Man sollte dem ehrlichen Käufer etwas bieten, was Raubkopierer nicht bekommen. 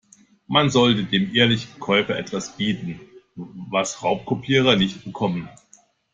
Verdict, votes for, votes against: accepted, 2, 0